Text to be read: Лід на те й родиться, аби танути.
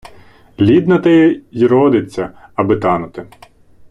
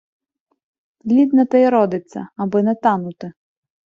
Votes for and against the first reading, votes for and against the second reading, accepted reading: 2, 0, 0, 2, first